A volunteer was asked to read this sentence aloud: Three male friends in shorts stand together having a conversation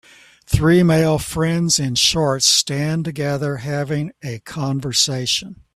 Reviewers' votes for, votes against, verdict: 3, 0, accepted